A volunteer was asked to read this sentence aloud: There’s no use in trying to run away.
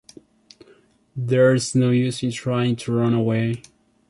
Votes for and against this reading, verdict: 2, 0, accepted